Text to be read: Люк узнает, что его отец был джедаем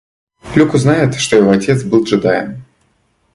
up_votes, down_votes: 2, 0